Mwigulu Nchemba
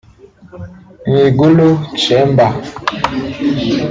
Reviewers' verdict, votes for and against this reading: rejected, 0, 2